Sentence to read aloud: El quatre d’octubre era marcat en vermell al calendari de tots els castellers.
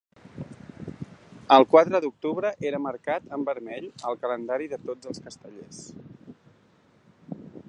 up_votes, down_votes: 2, 0